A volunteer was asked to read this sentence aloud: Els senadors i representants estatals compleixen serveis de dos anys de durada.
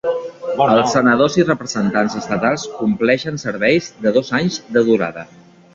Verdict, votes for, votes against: accepted, 2, 1